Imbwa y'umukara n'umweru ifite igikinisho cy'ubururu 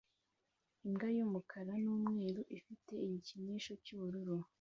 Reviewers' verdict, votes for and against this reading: accepted, 2, 0